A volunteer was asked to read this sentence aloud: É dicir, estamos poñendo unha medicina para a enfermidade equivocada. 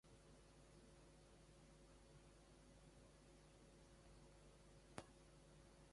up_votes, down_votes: 0, 2